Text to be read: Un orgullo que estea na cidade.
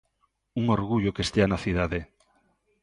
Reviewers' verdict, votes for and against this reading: accepted, 2, 0